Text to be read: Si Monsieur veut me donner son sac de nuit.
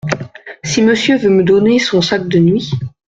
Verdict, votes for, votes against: accepted, 2, 0